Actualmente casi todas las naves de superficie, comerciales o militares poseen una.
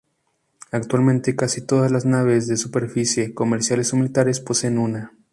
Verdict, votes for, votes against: accepted, 4, 0